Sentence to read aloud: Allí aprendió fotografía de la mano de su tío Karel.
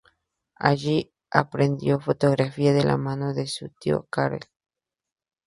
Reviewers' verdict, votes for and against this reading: accepted, 2, 0